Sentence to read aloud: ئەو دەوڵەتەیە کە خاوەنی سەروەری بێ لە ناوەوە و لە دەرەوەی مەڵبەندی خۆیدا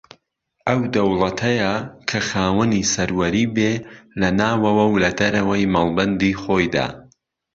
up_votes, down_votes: 2, 0